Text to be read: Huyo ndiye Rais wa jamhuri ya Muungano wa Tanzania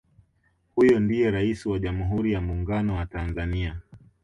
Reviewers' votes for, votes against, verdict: 3, 1, accepted